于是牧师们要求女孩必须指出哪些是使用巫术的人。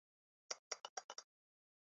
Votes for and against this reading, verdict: 0, 3, rejected